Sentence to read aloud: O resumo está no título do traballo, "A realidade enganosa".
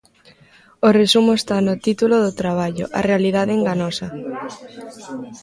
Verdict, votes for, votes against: rejected, 0, 2